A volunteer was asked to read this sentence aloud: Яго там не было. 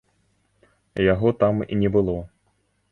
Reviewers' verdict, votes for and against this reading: rejected, 1, 2